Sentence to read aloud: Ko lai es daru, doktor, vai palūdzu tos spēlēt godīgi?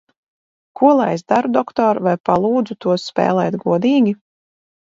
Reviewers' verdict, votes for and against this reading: accepted, 4, 0